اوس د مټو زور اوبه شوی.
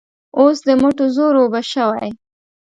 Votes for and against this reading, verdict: 2, 0, accepted